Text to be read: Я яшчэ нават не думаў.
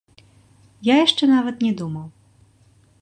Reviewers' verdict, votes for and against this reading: accepted, 2, 1